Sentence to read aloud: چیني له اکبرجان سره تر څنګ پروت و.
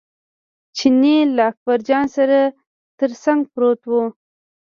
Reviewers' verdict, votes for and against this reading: rejected, 1, 2